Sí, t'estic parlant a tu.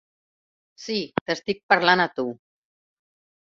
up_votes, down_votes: 1, 2